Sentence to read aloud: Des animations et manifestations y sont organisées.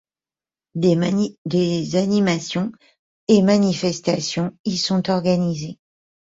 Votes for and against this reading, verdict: 0, 2, rejected